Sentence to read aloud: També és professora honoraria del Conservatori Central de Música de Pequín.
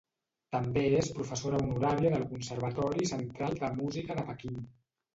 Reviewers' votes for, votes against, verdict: 2, 0, accepted